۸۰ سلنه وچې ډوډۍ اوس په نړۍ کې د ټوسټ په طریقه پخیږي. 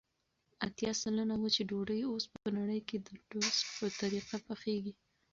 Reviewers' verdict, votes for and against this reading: rejected, 0, 2